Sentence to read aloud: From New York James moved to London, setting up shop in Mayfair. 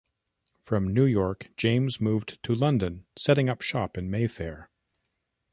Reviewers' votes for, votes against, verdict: 2, 0, accepted